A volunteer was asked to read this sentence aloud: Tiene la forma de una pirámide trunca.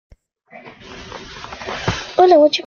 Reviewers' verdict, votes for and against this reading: rejected, 0, 2